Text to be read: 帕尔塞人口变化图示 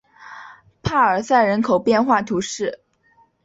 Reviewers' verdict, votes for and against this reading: accepted, 3, 0